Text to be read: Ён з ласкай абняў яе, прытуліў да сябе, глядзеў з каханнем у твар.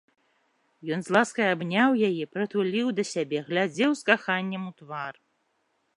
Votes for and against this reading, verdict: 2, 0, accepted